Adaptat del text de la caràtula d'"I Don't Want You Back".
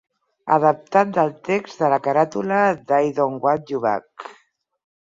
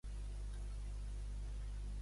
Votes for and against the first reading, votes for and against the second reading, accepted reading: 4, 2, 1, 2, first